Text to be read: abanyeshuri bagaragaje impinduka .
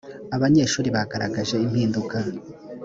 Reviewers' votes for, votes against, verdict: 3, 0, accepted